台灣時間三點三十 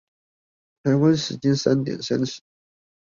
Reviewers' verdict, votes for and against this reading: rejected, 2, 2